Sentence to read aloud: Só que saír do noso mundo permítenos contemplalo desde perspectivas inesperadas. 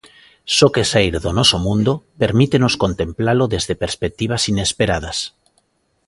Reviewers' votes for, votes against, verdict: 2, 0, accepted